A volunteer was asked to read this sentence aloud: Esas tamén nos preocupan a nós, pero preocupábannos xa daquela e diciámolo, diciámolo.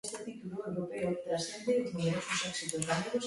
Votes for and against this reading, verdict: 0, 2, rejected